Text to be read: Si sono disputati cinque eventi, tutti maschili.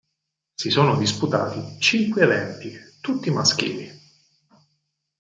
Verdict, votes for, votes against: accepted, 4, 0